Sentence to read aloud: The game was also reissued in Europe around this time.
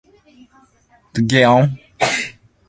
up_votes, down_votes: 0, 2